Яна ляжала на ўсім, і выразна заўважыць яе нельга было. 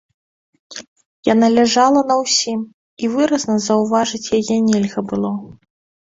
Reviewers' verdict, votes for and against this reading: rejected, 1, 2